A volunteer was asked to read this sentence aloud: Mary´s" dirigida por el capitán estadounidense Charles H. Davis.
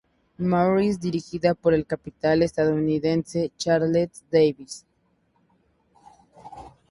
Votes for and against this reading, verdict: 0, 2, rejected